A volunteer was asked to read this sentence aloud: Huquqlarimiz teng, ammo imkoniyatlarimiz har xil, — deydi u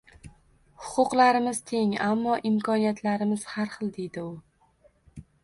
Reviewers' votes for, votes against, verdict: 2, 0, accepted